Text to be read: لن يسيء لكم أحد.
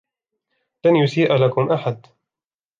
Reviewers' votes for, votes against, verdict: 1, 2, rejected